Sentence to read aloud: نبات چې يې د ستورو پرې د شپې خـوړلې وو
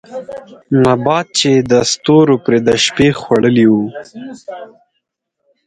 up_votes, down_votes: 4, 0